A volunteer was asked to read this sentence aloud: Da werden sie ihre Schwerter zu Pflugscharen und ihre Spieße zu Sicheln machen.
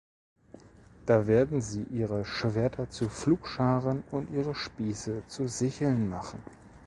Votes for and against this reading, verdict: 2, 0, accepted